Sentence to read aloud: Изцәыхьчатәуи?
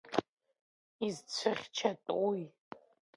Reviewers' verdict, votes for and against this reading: rejected, 1, 2